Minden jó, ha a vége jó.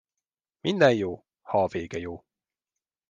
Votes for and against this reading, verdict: 2, 0, accepted